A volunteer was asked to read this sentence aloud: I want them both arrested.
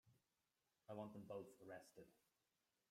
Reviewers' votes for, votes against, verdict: 1, 2, rejected